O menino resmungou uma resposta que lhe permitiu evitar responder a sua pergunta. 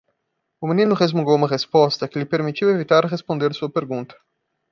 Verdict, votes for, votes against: rejected, 0, 2